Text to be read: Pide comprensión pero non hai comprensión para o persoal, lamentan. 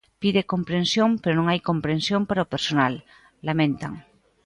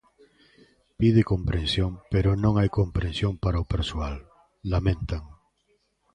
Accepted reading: second